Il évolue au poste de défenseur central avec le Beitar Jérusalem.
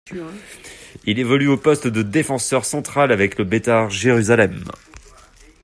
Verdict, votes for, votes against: accepted, 2, 0